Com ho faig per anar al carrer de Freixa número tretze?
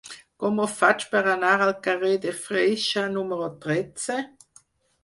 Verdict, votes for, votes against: accepted, 6, 2